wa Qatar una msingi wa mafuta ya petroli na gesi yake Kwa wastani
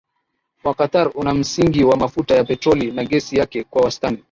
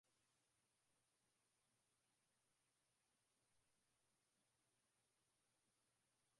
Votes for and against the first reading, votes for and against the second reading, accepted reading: 2, 1, 0, 2, first